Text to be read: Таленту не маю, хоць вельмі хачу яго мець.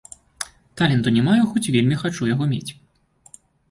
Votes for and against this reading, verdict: 2, 0, accepted